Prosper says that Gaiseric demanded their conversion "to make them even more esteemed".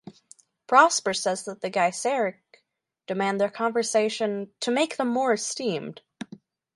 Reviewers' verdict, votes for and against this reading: rejected, 0, 4